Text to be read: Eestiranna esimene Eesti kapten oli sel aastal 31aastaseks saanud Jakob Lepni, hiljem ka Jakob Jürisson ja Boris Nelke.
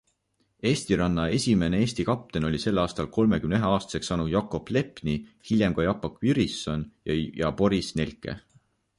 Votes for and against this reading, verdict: 0, 2, rejected